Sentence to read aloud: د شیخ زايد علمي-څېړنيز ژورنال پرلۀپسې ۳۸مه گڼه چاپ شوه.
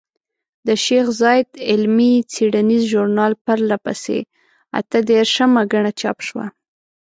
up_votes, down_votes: 0, 2